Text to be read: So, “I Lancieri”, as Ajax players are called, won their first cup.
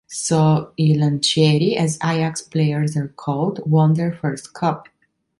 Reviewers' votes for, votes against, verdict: 2, 0, accepted